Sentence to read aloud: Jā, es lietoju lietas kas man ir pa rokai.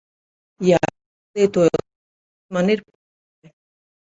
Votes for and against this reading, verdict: 0, 2, rejected